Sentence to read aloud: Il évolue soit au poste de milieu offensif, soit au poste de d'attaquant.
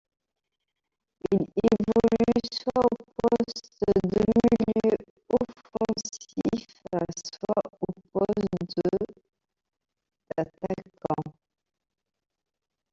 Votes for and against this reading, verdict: 0, 2, rejected